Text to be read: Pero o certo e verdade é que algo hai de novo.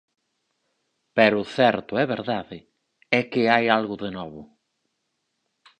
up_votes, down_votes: 4, 2